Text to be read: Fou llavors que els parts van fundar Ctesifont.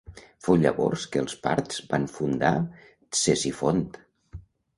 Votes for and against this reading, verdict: 1, 2, rejected